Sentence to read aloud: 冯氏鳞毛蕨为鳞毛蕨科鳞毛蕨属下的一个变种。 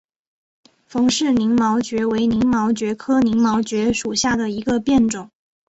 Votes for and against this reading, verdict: 2, 0, accepted